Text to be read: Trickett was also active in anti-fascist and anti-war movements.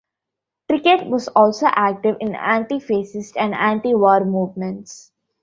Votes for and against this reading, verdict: 1, 2, rejected